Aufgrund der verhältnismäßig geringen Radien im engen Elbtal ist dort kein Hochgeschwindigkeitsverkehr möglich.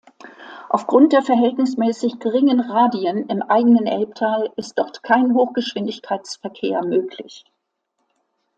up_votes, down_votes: 0, 2